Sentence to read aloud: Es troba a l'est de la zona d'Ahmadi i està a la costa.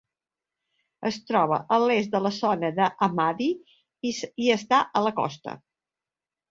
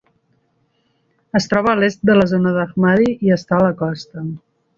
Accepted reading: second